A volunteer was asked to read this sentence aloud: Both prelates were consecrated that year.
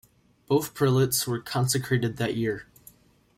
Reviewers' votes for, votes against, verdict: 3, 0, accepted